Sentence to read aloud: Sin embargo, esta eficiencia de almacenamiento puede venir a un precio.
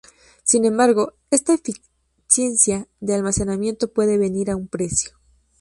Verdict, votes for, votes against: accepted, 4, 0